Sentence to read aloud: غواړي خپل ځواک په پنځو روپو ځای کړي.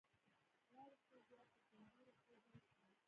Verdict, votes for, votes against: rejected, 1, 2